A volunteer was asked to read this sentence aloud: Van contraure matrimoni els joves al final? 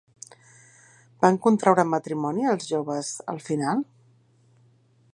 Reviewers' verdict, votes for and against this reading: accepted, 2, 0